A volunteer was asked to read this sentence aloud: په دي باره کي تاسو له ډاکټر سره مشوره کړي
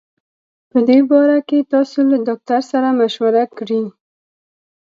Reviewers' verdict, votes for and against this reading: accepted, 2, 1